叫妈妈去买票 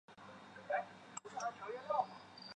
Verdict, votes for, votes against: rejected, 1, 3